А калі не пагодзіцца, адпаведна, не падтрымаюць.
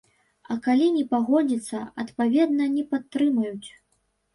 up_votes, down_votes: 1, 2